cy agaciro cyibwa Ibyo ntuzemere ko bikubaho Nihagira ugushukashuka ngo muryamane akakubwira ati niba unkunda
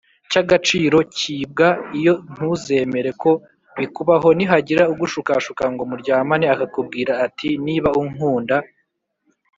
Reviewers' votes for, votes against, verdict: 0, 2, rejected